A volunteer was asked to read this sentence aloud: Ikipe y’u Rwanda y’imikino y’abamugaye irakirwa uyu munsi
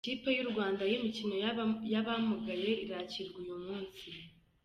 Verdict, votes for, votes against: rejected, 1, 2